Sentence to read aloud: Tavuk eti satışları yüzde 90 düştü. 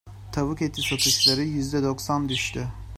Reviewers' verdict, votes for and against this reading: rejected, 0, 2